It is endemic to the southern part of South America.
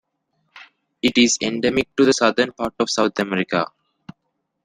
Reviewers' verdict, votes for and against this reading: accepted, 2, 0